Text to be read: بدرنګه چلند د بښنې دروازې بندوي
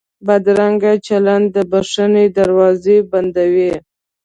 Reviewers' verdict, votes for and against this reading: accepted, 2, 0